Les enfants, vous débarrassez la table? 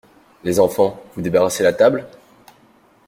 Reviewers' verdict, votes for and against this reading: accepted, 2, 0